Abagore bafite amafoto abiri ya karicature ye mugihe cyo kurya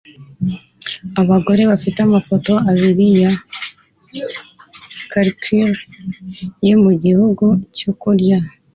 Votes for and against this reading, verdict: 2, 1, accepted